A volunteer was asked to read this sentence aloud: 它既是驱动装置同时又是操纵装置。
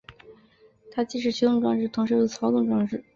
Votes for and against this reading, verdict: 2, 0, accepted